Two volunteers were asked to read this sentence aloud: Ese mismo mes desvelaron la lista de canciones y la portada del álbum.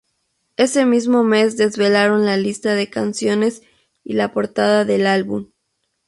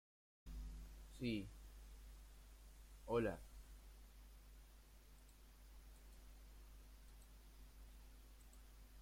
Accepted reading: first